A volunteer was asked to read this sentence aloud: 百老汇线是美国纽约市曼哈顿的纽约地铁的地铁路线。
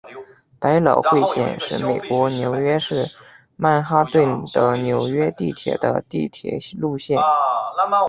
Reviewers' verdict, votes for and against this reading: accepted, 3, 0